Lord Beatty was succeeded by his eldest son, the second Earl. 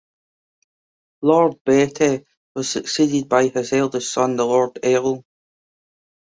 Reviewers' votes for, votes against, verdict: 0, 2, rejected